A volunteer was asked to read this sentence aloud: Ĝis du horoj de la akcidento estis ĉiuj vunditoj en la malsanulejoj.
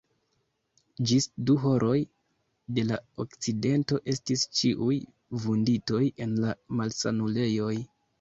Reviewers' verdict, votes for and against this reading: rejected, 0, 3